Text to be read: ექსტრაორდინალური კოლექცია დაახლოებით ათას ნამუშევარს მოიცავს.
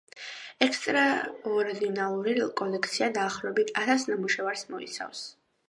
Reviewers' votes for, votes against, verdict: 1, 2, rejected